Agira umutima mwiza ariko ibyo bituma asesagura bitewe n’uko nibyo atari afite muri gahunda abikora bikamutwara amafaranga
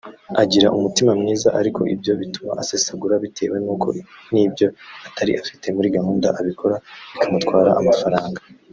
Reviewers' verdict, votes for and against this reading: accepted, 2, 0